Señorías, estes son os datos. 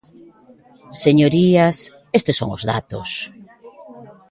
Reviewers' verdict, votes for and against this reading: accepted, 2, 0